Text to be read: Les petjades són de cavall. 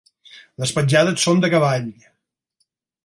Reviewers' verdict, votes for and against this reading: accepted, 4, 0